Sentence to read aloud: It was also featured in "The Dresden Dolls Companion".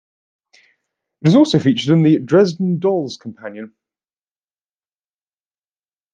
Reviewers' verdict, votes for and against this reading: accepted, 2, 0